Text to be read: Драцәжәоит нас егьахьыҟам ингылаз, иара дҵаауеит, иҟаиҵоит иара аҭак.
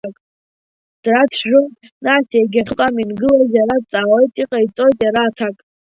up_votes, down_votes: 1, 2